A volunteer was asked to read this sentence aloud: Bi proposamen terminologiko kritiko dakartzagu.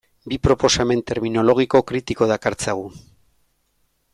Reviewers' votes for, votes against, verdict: 2, 0, accepted